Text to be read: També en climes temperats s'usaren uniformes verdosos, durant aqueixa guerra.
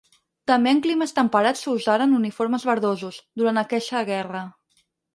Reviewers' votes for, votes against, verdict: 4, 0, accepted